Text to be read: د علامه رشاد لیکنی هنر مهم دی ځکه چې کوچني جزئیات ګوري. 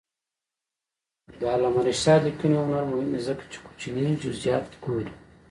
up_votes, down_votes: 1, 2